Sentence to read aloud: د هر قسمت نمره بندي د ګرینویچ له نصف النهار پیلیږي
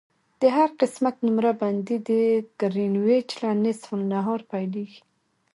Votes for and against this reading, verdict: 2, 0, accepted